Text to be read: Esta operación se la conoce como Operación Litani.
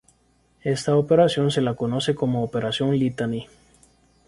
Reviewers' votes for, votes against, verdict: 0, 2, rejected